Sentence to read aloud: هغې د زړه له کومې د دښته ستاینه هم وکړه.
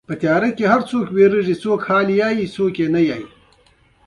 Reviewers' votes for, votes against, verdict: 2, 1, accepted